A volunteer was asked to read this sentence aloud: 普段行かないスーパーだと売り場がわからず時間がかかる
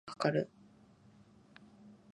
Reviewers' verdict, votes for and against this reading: rejected, 0, 3